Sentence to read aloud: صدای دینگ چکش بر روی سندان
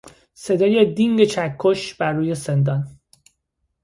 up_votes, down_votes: 2, 0